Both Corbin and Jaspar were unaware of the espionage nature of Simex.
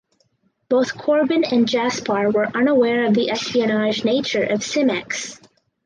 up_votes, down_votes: 4, 0